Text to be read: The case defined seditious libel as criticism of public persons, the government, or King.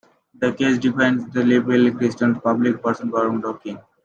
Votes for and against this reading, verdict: 0, 2, rejected